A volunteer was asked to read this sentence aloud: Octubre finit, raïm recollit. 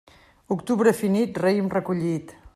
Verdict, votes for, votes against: accepted, 2, 0